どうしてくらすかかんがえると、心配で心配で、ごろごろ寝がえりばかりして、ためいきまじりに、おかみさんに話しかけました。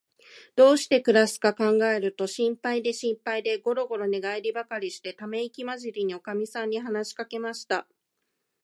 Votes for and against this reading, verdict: 2, 1, accepted